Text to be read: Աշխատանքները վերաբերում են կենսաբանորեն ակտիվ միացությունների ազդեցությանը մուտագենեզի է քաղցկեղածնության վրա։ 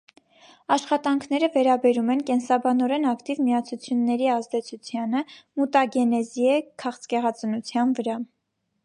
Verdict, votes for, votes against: accepted, 2, 0